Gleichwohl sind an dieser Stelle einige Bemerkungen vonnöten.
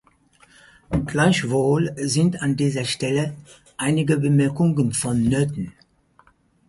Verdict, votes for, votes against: accepted, 4, 0